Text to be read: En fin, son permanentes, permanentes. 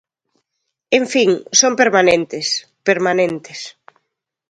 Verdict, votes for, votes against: accepted, 2, 0